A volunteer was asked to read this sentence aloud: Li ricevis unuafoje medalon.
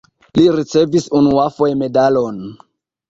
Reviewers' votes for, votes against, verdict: 1, 2, rejected